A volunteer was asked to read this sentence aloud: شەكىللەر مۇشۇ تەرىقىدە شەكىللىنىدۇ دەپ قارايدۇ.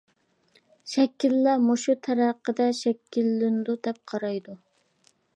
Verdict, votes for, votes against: rejected, 1, 2